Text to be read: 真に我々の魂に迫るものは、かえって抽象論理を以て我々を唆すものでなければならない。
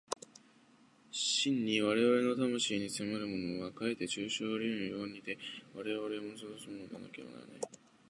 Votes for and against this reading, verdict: 2, 3, rejected